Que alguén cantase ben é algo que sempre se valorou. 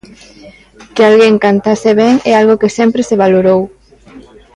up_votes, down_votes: 2, 1